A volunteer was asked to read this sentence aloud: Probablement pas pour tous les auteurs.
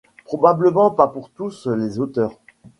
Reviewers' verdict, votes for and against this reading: rejected, 1, 2